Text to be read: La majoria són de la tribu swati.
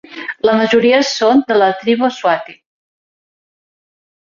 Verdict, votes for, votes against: accepted, 2, 0